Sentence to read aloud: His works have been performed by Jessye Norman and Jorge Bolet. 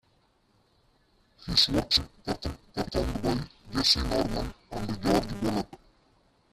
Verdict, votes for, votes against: rejected, 1, 2